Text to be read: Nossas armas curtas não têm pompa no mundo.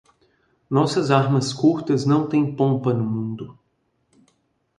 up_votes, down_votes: 2, 0